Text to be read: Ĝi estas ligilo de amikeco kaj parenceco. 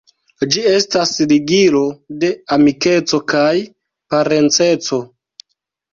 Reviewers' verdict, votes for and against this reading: accepted, 2, 1